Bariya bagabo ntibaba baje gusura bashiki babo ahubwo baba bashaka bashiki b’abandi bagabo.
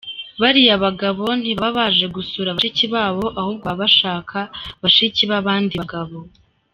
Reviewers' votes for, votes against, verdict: 4, 1, accepted